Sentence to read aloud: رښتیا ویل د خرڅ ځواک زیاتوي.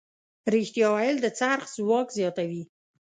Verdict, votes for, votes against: rejected, 1, 2